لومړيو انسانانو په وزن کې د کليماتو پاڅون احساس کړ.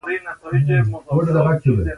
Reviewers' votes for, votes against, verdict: 0, 2, rejected